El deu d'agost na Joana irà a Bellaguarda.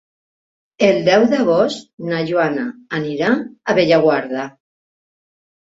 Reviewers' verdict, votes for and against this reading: rejected, 0, 2